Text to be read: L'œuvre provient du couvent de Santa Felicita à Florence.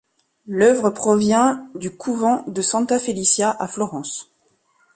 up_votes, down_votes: 1, 3